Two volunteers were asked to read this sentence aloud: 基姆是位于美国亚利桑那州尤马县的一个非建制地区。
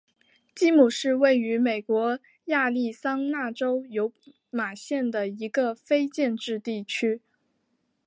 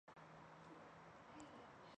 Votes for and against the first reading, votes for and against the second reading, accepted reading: 2, 0, 0, 4, first